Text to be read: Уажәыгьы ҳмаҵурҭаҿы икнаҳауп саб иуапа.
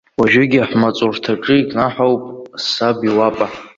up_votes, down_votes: 2, 1